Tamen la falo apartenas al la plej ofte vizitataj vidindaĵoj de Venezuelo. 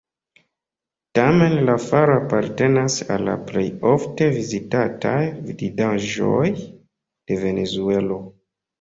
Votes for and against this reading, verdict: 2, 0, accepted